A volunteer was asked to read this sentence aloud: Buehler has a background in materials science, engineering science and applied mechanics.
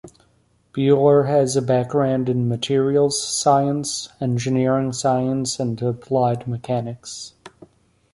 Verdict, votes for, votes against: rejected, 1, 2